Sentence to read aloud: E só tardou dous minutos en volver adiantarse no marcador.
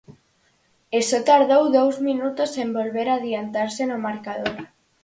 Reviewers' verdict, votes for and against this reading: accepted, 4, 0